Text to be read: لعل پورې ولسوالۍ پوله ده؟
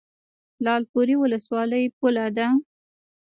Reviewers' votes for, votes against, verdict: 0, 2, rejected